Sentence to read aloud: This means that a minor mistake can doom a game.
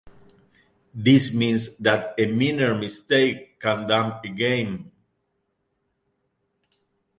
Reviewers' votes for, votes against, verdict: 0, 2, rejected